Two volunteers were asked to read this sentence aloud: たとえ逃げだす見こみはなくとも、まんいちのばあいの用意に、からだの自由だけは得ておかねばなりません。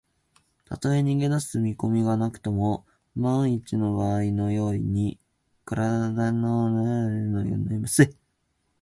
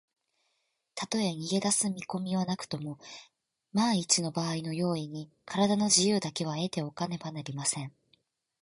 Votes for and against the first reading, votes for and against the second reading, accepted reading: 1, 4, 2, 0, second